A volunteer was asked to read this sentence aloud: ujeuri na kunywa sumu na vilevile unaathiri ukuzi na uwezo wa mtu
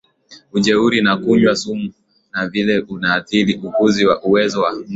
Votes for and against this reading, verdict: 2, 1, accepted